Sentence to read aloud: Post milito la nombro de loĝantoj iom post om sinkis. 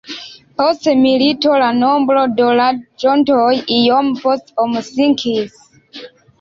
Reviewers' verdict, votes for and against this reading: accepted, 2, 1